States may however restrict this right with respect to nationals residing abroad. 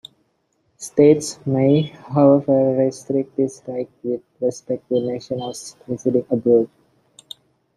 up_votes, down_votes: 0, 2